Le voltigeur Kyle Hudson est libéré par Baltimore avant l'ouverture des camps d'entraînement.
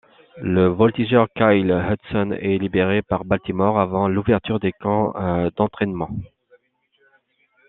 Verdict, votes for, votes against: accepted, 2, 0